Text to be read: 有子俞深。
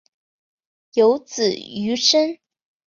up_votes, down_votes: 6, 0